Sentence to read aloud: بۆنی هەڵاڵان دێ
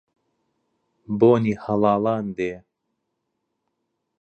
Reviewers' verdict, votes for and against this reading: accepted, 2, 0